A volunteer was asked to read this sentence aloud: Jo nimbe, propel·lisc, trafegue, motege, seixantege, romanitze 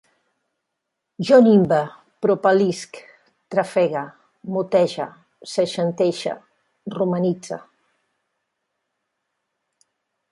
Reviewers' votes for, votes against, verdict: 3, 1, accepted